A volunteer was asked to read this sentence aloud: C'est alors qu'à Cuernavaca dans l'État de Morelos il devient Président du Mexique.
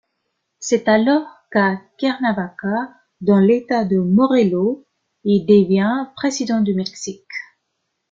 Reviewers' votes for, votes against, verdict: 2, 0, accepted